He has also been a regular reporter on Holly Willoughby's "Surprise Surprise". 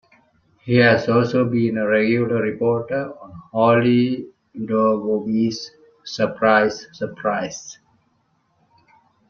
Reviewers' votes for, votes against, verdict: 0, 2, rejected